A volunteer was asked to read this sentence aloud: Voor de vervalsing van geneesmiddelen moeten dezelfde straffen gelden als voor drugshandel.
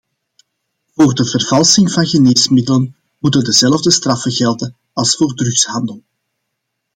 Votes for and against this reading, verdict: 2, 0, accepted